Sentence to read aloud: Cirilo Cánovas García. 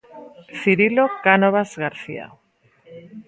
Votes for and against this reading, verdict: 2, 0, accepted